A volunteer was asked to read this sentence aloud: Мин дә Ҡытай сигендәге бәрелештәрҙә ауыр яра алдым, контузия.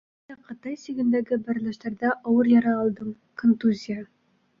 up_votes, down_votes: 1, 2